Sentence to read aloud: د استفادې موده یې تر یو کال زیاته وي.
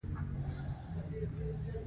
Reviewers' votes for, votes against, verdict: 0, 2, rejected